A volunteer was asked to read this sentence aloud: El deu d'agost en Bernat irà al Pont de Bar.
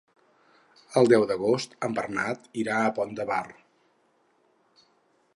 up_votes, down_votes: 0, 4